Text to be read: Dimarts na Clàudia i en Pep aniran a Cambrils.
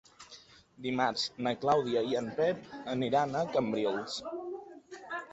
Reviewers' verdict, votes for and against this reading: accepted, 2, 0